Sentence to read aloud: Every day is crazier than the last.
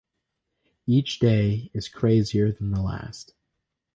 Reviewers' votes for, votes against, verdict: 0, 4, rejected